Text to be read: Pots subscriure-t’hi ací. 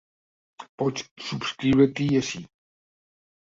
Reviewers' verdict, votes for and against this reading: accepted, 2, 0